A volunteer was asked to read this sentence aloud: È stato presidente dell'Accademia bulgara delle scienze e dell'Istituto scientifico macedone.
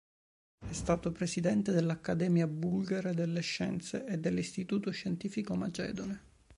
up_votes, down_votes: 2, 0